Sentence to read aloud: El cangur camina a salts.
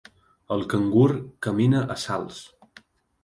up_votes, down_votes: 3, 0